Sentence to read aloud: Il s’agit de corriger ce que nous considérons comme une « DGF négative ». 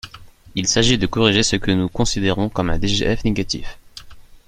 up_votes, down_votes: 0, 2